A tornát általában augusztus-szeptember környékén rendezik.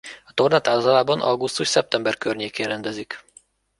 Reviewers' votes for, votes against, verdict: 1, 2, rejected